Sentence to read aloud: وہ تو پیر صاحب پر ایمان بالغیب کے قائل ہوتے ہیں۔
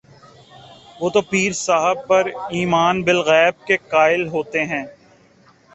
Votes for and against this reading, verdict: 2, 0, accepted